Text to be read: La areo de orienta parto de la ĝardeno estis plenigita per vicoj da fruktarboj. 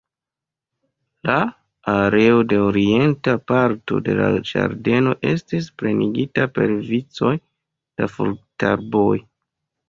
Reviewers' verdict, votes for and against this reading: rejected, 1, 2